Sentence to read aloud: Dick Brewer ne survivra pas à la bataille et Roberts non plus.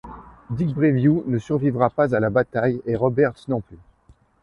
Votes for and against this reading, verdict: 1, 2, rejected